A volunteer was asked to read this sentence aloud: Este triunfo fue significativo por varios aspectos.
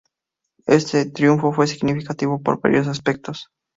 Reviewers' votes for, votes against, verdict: 2, 0, accepted